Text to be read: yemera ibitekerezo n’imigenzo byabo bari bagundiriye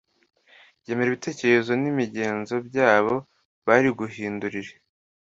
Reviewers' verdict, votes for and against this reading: accepted, 2, 1